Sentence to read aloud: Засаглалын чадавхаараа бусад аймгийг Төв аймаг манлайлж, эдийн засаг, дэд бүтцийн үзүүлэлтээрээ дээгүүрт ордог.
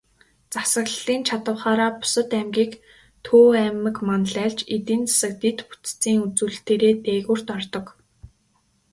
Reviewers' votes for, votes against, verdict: 3, 0, accepted